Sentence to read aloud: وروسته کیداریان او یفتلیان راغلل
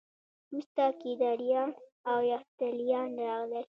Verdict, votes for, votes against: accepted, 2, 0